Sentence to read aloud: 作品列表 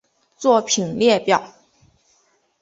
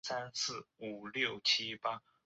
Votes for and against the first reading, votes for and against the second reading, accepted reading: 4, 0, 1, 3, first